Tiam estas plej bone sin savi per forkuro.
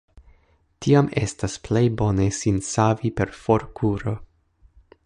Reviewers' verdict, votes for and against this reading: rejected, 1, 2